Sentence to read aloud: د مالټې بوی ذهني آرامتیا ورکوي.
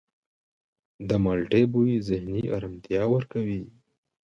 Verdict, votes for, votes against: accepted, 2, 1